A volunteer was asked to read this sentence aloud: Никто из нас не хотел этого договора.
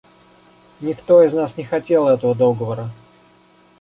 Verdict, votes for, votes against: accepted, 2, 0